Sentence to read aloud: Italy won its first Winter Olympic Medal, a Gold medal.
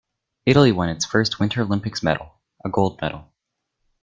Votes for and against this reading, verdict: 0, 2, rejected